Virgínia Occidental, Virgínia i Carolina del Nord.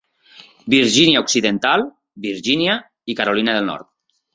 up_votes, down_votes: 2, 0